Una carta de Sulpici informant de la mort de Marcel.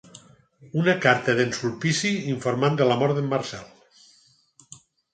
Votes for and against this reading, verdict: 2, 4, rejected